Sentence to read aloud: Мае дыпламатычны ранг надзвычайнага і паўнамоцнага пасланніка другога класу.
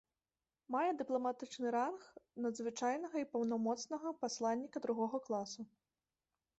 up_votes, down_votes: 2, 0